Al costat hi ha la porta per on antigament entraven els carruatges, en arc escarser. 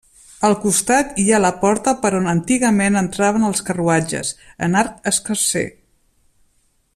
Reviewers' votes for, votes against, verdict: 3, 0, accepted